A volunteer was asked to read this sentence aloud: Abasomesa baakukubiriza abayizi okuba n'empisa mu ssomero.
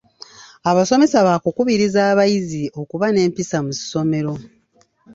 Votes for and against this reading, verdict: 2, 1, accepted